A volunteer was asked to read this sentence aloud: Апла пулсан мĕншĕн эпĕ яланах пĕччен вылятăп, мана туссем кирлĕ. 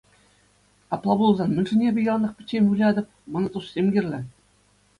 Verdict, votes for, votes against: accepted, 2, 0